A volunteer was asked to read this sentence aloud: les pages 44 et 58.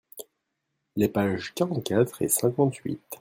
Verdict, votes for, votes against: rejected, 0, 2